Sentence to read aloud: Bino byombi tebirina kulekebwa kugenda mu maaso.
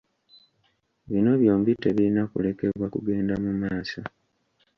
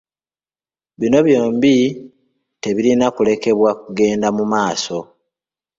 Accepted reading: second